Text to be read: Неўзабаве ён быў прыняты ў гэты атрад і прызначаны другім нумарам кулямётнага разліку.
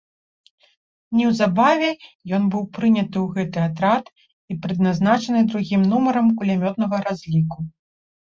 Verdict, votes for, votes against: rejected, 1, 4